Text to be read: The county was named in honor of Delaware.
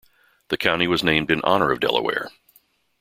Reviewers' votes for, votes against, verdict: 2, 0, accepted